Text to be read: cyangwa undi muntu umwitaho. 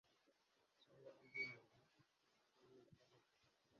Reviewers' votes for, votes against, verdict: 0, 2, rejected